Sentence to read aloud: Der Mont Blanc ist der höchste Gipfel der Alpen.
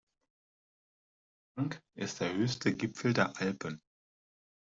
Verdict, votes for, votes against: rejected, 0, 2